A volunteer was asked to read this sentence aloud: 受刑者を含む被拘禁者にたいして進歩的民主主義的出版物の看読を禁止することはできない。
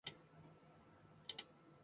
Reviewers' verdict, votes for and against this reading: rejected, 0, 2